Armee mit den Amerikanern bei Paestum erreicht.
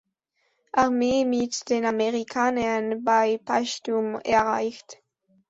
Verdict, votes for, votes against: accepted, 2, 1